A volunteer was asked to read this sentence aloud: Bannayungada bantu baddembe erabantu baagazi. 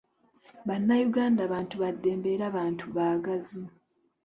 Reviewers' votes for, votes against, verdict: 2, 0, accepted